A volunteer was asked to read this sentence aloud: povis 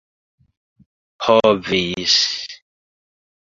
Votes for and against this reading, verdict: 2, 1, accepted